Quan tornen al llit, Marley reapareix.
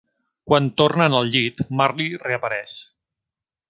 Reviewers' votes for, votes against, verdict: 2, 0, accepted